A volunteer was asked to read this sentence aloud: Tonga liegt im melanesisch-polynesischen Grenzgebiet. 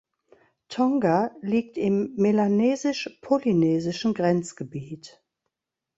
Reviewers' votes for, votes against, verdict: 2, 0, accepted